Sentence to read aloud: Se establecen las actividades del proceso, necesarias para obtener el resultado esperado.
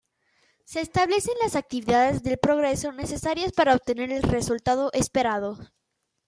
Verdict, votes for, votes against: rejected, 0, 2